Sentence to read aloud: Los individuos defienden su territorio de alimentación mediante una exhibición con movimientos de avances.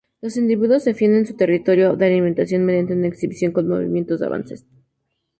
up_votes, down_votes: 2, 0